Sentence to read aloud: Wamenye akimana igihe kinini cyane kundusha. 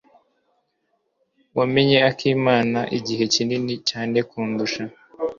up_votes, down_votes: 1, 2